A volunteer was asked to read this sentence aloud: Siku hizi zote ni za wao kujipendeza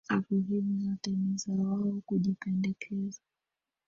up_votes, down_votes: 1, 2